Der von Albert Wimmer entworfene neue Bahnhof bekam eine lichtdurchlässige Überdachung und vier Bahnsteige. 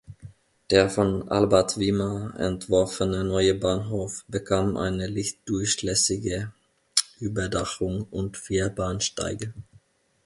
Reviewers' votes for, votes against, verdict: 2, 0, accepted